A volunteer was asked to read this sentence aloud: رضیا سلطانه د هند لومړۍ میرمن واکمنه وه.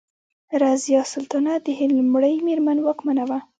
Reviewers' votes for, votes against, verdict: 0, 2, rejected